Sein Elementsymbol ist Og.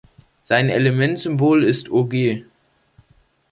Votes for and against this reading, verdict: 3, 0, accepted